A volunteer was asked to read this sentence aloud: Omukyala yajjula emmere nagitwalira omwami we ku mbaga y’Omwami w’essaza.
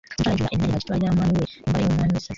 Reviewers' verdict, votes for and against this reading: rejected, 0, 3